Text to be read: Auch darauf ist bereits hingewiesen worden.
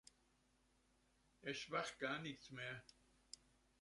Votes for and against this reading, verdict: 0, 2, rejected